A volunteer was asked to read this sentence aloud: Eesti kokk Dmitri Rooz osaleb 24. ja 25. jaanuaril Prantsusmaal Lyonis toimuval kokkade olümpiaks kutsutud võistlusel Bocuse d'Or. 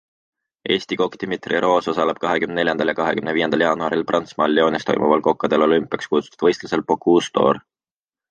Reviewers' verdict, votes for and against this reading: rejected, 0, 2